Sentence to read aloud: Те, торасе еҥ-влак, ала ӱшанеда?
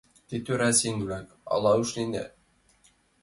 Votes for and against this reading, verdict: 1, 2, rejected